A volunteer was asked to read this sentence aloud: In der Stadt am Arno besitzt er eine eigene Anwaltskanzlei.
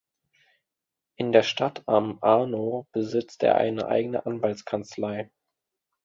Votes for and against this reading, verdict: 2, 0, accepted